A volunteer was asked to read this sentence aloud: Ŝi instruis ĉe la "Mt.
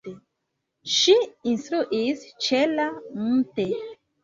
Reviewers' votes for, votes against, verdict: 1, 2, rejected